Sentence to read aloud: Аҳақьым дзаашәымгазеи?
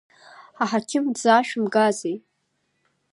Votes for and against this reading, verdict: 2, 0, accepted